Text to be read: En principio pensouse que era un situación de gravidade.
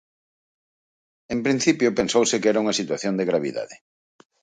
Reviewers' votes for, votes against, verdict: 2, 2, rejected